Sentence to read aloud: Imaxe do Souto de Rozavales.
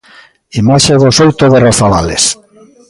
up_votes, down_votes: 2, 0